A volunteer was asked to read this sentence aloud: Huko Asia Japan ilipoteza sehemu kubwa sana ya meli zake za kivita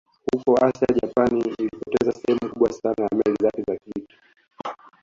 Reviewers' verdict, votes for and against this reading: rejected, 2, 3